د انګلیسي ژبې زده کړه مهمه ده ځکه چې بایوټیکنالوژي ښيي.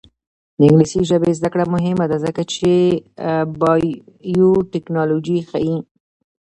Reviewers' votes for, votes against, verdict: 2, 0, accepted